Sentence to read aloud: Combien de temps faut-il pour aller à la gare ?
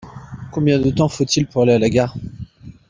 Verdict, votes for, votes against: accepted, 2, 0